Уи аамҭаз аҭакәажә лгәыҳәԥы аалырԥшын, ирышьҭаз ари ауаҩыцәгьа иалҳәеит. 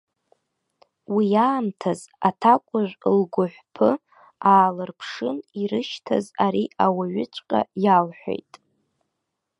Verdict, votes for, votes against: rejected, 1, 2